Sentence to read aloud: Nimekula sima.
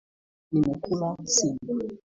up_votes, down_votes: 2, 1